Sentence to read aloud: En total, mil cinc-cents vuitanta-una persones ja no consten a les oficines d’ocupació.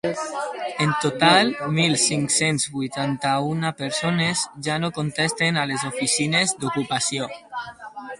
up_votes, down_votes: 0, 4